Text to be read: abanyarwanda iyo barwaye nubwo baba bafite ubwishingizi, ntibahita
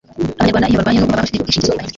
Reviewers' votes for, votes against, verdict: 1, 2, rejected